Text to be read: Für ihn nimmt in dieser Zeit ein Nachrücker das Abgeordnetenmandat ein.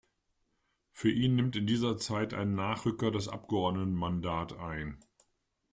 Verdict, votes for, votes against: accepted, 2, 0